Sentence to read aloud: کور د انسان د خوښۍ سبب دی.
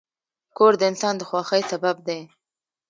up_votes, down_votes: 2, 0